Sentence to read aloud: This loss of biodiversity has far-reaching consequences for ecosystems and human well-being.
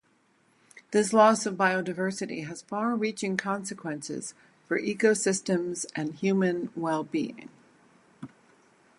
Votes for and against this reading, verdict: 2, 2, rejected